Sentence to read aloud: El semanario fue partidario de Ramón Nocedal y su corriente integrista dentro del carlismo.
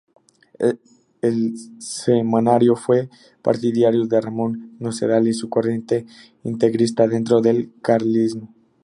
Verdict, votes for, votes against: rejected, 0, 2